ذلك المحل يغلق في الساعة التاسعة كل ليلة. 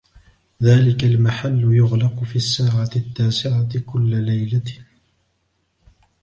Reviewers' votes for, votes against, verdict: 2, 0, accepted